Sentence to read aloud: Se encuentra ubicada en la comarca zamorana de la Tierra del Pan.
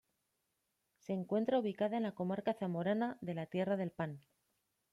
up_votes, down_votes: 2, 0